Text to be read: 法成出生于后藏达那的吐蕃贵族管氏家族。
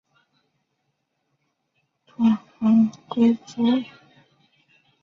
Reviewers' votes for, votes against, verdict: 0, 2, rejected